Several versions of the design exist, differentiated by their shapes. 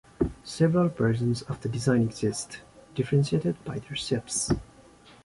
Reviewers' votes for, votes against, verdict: 2, 0, accepted